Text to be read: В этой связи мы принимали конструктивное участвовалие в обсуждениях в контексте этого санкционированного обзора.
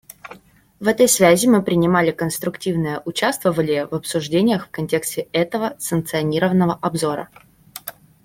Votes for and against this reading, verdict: 0, 2, rejected